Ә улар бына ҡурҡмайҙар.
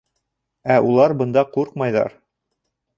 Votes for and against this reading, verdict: 0, 2, rejected